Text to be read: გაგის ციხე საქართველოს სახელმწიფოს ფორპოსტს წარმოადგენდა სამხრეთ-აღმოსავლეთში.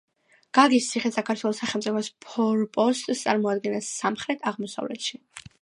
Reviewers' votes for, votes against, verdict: 2, 0, accepted